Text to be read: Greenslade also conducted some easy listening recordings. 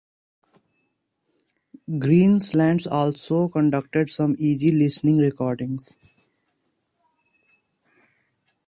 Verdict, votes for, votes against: rejected, 1, 2